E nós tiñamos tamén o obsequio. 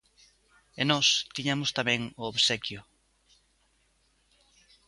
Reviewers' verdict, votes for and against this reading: accepted, 2, 0